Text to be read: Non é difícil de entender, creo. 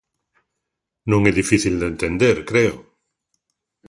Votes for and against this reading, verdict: 2, 0, accepted